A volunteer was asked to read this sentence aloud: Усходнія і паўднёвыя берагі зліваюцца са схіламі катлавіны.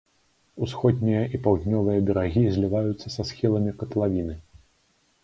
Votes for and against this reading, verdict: 2, 0, accepted